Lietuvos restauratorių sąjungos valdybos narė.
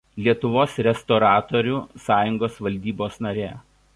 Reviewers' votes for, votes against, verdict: 1, 2, rejected